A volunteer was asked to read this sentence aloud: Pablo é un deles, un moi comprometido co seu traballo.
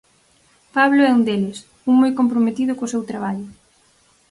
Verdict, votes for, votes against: accepted, 4, 0